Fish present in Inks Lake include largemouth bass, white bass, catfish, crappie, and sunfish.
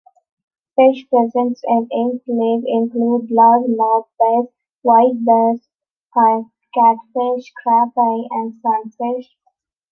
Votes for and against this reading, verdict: 0, 2, rejected